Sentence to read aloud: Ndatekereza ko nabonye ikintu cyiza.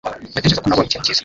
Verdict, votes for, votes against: rejected, 0, 2